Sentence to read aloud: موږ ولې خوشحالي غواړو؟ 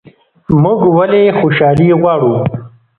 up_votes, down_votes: 1, 2